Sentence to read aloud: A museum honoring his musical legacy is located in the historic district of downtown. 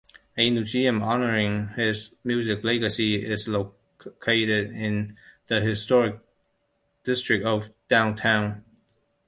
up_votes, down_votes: 1, 2